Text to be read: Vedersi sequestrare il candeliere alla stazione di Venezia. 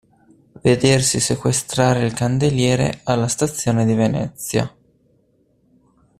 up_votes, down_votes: 2, 0